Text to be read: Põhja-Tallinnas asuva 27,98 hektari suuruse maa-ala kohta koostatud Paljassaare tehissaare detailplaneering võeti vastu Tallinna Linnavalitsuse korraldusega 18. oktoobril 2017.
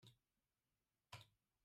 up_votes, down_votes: 0, 2